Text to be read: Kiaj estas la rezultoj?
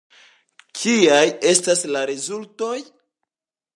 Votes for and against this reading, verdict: 2, 0, accepted